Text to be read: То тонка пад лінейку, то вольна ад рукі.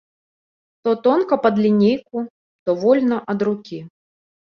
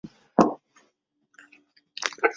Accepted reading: first